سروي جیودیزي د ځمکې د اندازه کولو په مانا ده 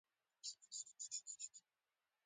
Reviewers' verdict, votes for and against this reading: rejected, 0, 2